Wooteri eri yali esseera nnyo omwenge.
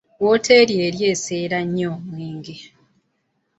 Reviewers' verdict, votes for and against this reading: rejected, 0, 2